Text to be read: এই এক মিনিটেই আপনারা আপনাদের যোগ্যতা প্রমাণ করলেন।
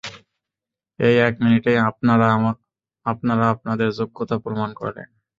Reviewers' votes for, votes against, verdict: 0, 2, rejected